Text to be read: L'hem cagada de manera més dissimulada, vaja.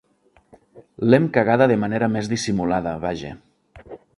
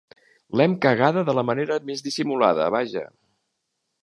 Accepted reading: first